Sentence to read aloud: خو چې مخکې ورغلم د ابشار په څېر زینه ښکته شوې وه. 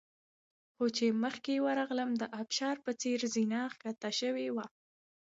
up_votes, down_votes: 2, 0